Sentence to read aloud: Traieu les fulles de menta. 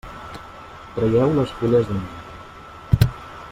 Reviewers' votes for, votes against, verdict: 1, 2, rejected